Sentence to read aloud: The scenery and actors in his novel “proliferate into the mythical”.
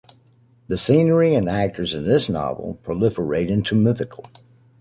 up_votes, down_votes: 1, 2